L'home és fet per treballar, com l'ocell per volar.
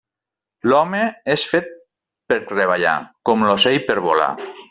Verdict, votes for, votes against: rejected, 0, 2